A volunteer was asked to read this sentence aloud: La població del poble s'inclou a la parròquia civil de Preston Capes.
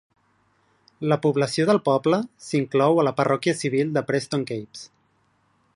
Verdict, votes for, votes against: accepted, 2, 0